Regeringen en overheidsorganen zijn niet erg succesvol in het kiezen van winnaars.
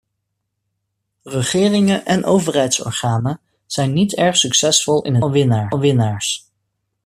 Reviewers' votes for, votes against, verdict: 0, 2, rejected